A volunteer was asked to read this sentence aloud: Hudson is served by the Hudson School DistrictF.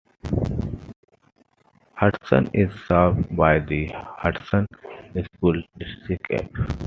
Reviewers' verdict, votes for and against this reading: accepted, 2, 1